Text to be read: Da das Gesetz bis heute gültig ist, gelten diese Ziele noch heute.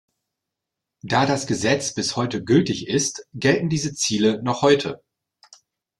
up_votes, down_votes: 2, 0